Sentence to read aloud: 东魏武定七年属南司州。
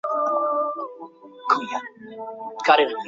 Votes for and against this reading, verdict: 1, 5, rejected